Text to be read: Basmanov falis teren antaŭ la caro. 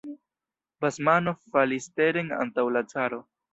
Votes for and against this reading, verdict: 2, 1, accepted